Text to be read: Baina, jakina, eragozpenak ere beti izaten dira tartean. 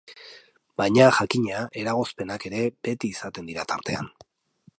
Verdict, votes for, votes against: accepted, 2, 0